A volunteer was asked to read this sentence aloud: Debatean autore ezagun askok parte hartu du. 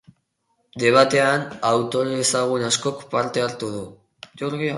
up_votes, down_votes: 12, 0